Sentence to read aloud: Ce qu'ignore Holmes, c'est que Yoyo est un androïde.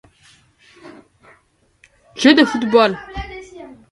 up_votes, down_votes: 0, 3